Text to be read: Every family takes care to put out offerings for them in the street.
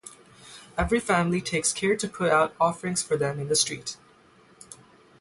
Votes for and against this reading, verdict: 3, 0, accepted